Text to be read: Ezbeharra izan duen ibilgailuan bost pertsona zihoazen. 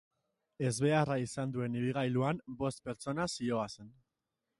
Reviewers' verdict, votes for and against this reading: accepted, 2, 0